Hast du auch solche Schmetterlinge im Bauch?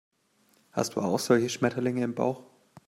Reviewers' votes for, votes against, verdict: 2, 0, accepted